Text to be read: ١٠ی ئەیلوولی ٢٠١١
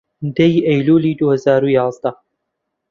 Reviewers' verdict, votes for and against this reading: rejected, 0, 2